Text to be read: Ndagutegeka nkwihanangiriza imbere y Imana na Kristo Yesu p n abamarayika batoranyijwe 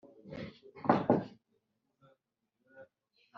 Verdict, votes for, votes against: rejected, 0, 2